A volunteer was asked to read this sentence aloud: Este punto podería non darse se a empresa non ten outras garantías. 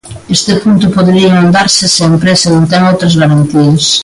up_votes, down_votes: 0, 2